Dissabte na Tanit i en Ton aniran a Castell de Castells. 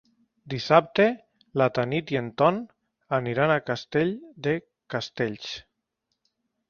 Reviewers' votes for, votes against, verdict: 1, 2, rejected